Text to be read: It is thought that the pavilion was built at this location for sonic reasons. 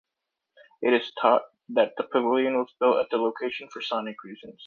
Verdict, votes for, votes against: rejected, 0, 2